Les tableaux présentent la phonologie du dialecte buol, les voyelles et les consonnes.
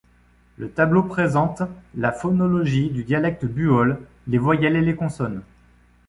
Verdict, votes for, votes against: rejected, 1, 2